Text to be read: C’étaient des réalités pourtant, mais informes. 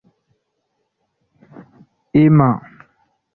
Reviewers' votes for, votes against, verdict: 0, 2, rejected